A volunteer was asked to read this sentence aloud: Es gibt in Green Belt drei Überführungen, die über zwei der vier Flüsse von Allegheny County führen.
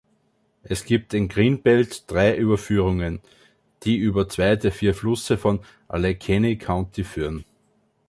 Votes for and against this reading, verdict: 2, 1, accepted